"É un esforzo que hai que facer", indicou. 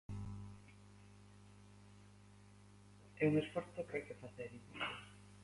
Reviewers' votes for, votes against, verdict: 0, 3, rejected